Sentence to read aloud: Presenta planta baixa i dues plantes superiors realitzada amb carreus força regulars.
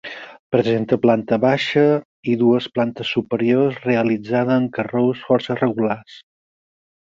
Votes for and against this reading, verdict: 4, 2, accepted